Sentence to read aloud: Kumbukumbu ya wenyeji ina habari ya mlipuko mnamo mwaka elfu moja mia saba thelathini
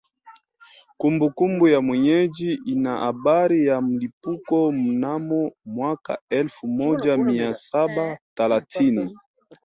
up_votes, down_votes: 2, 0